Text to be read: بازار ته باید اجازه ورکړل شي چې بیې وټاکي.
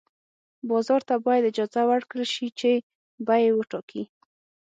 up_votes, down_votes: 6, 0